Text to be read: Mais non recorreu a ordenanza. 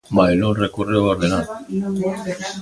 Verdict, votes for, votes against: rejected, 0, 2